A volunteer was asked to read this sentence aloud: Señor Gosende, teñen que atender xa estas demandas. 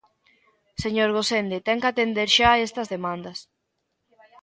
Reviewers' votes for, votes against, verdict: 0, 2, rejected